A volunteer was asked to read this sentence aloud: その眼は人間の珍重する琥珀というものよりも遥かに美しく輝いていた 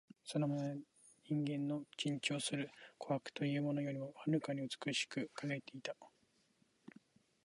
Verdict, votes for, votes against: accepted, 2, 1